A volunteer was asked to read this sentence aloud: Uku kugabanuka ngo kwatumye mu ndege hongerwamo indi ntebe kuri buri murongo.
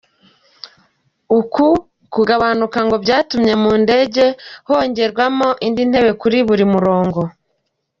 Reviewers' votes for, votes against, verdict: 2, 0, accepted